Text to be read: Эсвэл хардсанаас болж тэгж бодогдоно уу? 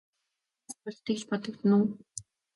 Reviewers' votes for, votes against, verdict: 0, 2, rejected